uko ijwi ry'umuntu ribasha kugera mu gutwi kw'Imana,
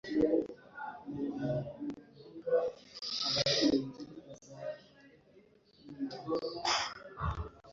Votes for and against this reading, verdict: 1, 2, rejected